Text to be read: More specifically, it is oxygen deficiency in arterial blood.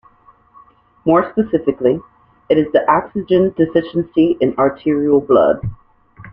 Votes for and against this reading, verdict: 1, 2, rejected